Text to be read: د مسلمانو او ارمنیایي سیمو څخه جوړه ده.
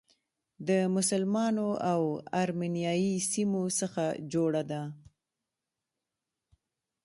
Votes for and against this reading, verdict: 0, 2, rejected